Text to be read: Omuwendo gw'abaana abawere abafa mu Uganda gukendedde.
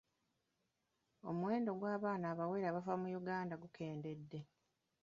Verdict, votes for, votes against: accepted, 2, 0